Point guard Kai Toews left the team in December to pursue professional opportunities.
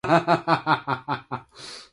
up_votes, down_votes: 0, 2